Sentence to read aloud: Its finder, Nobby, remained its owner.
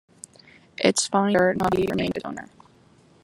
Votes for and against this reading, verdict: 1, 2, rejected